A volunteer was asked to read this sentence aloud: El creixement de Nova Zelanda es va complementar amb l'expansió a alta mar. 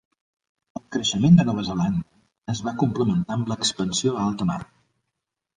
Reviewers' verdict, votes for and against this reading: accepted, 3, 2